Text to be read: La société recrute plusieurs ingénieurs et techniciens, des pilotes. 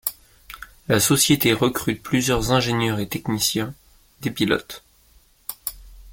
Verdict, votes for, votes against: accepted, 2, 0